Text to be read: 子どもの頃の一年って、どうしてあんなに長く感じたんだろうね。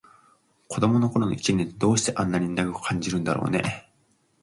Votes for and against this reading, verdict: 1, 2, rejected